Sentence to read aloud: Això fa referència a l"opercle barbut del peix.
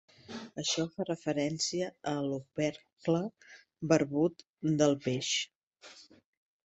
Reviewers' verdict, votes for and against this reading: accepted, 2, 0